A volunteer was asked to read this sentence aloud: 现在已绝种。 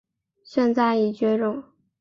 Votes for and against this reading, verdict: 3, 0, accepted